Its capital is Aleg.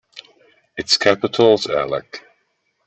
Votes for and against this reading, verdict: 1, 3, rejected